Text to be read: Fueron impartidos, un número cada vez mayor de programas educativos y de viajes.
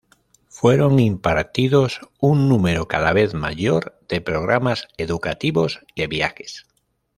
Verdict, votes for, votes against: rejected, 1, 2